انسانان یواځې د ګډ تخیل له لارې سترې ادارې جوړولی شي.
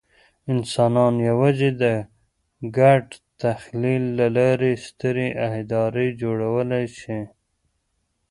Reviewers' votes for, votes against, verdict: 1, 2, rejected